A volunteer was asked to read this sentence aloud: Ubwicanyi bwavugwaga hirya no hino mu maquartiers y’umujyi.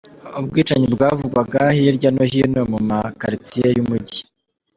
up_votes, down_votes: 3, 0